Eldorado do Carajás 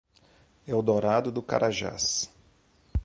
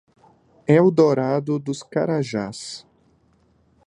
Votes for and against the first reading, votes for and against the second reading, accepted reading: 0, 2, 2, 0, second